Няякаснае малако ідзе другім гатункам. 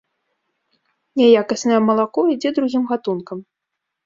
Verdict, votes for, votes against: accepted, 2, 0